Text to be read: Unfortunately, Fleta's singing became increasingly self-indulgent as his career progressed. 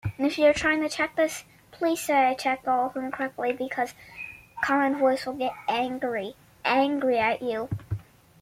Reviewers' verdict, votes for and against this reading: rejected, 0, 2